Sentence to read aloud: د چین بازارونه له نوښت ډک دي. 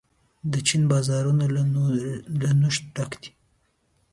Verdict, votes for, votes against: rejected, 0, 2